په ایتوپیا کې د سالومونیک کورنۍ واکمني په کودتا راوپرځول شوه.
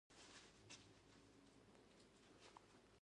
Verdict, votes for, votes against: rejected, 0, 2